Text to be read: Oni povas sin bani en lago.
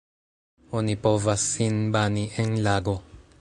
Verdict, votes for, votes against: accepted, 2, 0